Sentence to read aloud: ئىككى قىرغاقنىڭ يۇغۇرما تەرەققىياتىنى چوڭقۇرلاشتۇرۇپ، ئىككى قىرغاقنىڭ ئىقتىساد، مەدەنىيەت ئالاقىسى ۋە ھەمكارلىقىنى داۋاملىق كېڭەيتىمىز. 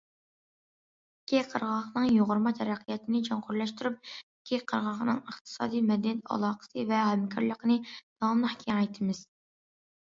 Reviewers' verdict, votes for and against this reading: accepted, 2, 1